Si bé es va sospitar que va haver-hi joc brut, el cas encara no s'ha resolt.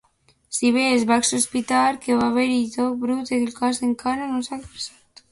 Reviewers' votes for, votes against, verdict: 1, 2, rejected